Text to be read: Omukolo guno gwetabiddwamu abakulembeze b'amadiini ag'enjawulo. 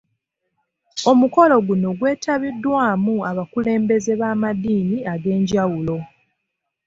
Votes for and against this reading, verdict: 2, 0, accepted